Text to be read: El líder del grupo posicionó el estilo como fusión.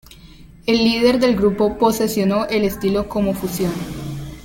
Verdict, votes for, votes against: accepted, 2, 0